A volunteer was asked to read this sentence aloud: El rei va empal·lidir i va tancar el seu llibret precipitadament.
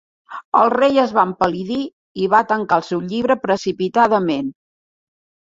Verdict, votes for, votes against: rejected, 0, 2